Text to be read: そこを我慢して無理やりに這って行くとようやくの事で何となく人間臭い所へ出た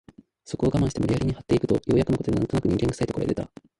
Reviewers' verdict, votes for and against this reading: rejected, 0, 2